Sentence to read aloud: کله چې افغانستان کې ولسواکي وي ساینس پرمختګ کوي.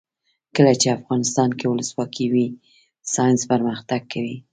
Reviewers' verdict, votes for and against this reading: rejected, 1, 2